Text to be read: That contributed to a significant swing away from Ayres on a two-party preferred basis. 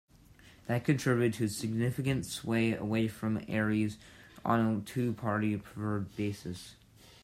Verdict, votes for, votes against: rejected, 1, 2